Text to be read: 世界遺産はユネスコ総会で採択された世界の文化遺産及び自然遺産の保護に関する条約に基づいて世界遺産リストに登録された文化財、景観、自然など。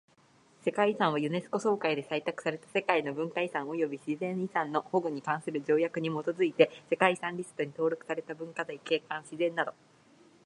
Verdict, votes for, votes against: accepted, 55, 3